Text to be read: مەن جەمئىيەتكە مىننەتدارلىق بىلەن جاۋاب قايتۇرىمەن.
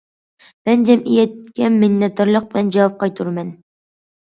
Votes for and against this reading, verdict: 2, 0, accepted